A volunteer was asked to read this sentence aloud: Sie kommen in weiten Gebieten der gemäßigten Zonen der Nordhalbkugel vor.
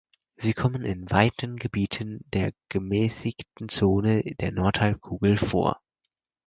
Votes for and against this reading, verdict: 2, 4, rejected